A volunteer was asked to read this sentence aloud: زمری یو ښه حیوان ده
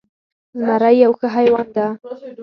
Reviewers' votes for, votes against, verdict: 4, 0, accepted